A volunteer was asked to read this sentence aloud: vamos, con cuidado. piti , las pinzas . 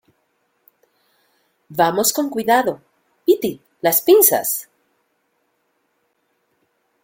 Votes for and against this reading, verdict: 2, 0, accepted